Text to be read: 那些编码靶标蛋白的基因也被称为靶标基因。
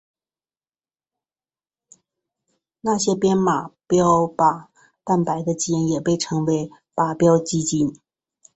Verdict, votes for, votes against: accepted, 7, 0